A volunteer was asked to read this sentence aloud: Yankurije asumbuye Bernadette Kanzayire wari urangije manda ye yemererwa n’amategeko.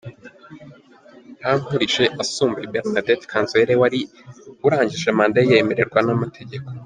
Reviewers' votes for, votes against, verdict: 2, 1, accepted